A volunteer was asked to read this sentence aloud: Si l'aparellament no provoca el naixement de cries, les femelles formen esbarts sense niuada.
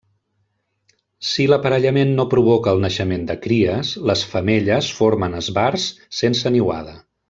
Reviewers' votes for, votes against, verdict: 2, 0, accepted